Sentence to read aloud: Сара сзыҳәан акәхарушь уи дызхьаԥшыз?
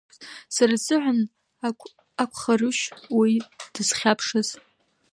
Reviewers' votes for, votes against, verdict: 0, 2, rejected